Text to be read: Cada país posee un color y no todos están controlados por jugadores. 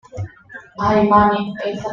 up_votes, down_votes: 1, 2